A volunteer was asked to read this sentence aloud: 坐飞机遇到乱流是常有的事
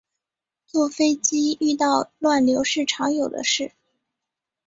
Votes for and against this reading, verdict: 2, 1, accepted